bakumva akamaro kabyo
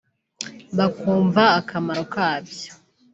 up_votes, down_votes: 2, 0